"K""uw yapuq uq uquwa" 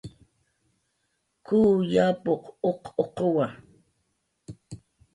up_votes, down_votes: 2, 0